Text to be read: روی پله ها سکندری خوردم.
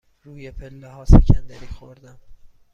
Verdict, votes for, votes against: accepted, 2, 0